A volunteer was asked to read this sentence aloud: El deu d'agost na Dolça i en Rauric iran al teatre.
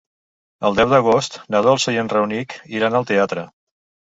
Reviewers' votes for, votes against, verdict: 3, 4, rejected